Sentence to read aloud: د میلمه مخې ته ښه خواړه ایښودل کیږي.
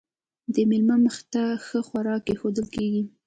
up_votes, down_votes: 2, 0